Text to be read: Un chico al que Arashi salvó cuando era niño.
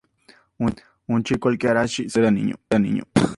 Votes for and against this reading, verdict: 0, 2, rejected